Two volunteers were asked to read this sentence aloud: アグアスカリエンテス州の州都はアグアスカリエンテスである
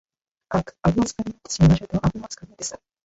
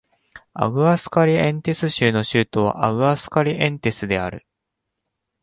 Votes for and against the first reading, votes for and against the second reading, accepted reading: 0, 2, 2, 0, second